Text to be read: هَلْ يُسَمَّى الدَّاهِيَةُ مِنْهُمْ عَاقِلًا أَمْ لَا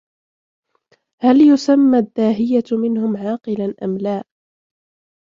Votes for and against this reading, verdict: 2, 1, accepted